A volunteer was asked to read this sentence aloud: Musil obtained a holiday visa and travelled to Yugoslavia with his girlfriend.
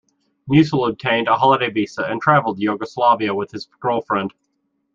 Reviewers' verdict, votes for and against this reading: accepted, 2, 0